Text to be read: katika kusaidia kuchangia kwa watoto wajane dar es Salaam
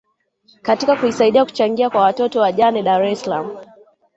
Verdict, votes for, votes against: rejected, 2, 3